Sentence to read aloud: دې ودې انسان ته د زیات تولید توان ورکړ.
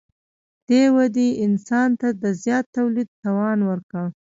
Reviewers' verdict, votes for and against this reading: rejected, 0, 2